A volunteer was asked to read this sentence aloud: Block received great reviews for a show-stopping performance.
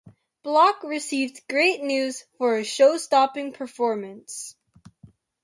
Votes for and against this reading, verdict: 0, 2, rejected